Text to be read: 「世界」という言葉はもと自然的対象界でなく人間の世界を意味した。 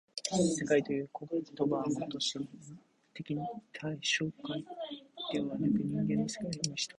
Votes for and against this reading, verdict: 0, 2, rejected